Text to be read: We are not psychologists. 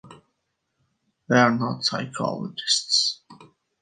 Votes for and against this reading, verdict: 5, 4, accepted